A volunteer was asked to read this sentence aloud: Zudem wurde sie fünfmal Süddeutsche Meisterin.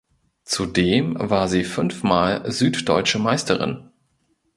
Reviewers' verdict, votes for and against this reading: rejected, 0, 2